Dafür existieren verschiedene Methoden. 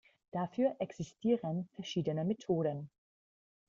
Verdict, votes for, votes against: rejected, 1, 2